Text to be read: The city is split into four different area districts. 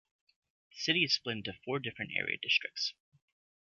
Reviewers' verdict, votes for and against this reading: rejected, 1, 2